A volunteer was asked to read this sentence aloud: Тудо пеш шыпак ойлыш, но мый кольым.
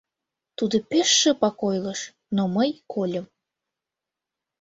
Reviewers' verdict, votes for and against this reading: accepted, 2, 0